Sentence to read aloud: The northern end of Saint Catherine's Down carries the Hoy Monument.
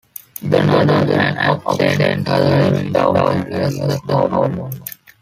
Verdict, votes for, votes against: rejected, 0, 2